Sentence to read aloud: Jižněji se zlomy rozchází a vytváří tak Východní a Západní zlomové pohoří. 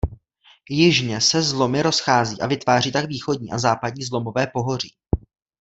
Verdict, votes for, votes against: rejected, 0, 2